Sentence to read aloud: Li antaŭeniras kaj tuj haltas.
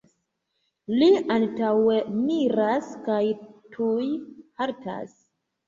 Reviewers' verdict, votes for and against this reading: rejected, 0, 2